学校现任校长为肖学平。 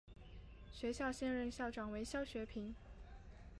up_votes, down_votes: 4, 0